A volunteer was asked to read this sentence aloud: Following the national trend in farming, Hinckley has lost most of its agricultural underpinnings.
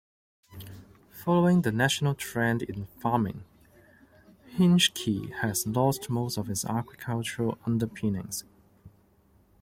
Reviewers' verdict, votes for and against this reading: rejected, 1, 2